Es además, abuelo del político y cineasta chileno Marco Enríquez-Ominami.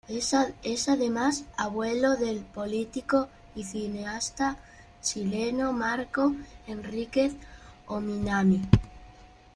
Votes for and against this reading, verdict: 2, 1, accepted